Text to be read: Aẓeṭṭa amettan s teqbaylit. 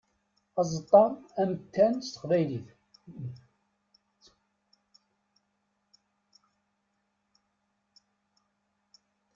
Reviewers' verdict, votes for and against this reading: accepted, 2, 0